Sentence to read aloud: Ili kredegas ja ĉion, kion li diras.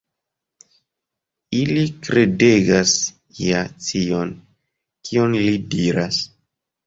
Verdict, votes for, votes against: rejected, 1, 2